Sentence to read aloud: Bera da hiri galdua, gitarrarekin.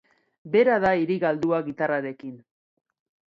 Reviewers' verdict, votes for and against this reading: rejected, 0, 2